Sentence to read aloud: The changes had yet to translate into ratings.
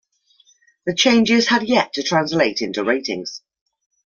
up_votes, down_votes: 2, 0